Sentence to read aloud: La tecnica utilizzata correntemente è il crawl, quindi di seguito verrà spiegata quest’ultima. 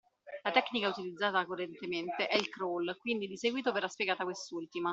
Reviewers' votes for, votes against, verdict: 2, 1, accepted